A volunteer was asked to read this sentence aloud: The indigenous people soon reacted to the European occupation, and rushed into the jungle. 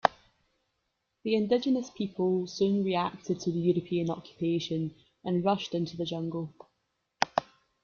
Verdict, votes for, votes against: accepted, 2, 0